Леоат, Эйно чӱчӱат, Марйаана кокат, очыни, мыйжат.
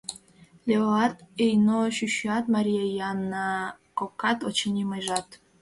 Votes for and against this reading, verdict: 2, 3, rejected